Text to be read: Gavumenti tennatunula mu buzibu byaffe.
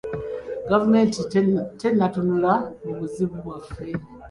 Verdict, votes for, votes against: accepted, 2, 1